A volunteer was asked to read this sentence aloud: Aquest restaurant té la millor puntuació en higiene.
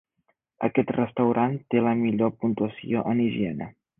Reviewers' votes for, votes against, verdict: 2, 0, accepted